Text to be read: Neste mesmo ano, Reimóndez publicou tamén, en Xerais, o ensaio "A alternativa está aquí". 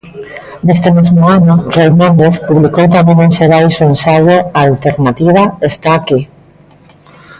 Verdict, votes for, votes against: rejected, 0, 2